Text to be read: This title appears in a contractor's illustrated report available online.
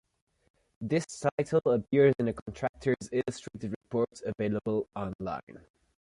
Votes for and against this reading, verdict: 0, 2, rejected